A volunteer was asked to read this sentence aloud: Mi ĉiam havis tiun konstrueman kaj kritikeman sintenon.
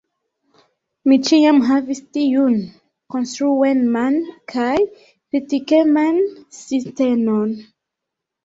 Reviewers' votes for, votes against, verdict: 1, 2, rejected